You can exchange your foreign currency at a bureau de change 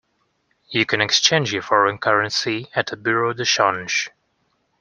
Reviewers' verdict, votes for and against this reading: accepted, 2, 0